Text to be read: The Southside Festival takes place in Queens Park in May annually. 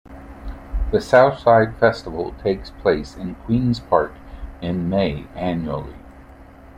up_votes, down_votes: 2, 0